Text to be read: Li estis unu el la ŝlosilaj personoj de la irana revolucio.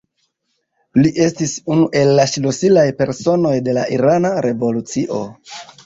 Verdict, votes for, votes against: accepted, 2, 0